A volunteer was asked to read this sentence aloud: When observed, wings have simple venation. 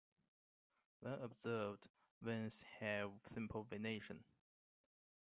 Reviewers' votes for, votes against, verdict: 2, 1, accepted